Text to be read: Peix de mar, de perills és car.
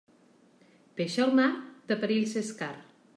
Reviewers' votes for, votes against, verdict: 0, 2, rejected